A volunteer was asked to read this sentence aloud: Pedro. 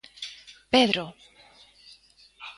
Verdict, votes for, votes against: accepted, 2, 0